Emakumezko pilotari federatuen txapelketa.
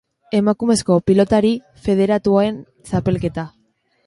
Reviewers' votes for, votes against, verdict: 2, 1, accepted